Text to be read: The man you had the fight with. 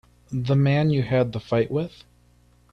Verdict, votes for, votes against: accepted, 2, 0